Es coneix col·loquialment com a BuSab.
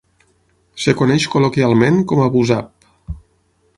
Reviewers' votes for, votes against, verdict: 3, 6, rejected